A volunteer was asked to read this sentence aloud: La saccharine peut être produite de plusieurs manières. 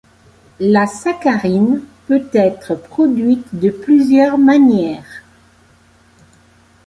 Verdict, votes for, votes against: accepted, 2, 0